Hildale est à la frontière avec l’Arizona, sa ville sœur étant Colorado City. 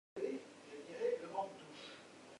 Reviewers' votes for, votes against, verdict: 0, 2, rejected